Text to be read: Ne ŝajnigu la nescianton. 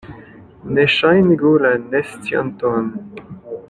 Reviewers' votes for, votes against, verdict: 1, 2, rejected